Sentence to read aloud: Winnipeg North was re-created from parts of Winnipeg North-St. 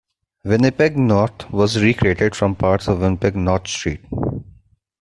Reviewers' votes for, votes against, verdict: 1, 2, rejected